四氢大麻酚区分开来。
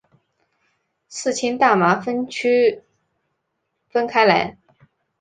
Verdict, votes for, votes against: accepted, 2, 1